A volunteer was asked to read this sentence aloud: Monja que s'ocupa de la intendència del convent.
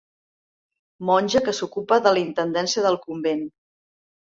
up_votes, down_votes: 4, 0